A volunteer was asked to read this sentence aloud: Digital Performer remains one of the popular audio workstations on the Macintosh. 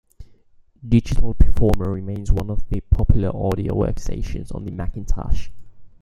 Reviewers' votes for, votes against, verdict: 2, 0, accepted